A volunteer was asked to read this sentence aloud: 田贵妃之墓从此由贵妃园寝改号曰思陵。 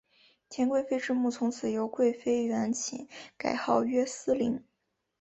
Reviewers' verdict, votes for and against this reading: accepted, 4, 0